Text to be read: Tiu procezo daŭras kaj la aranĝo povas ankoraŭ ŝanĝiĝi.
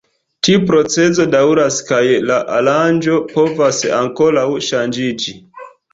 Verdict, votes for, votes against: rejected, 1, 2